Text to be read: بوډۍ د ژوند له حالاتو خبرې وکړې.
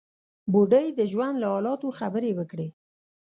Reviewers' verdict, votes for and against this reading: accepted, 2, 0